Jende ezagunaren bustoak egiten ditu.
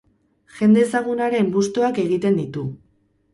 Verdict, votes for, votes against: rejected, 2, 2